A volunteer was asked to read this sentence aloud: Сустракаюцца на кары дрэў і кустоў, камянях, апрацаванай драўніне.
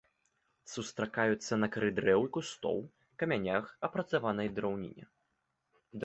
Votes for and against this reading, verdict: 2, 0, accepted